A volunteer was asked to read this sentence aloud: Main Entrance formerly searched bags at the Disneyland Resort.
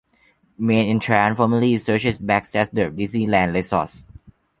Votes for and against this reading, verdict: 0, 2, rejected